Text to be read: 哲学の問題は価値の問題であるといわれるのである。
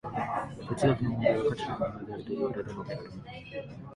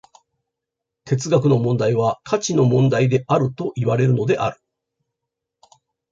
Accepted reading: second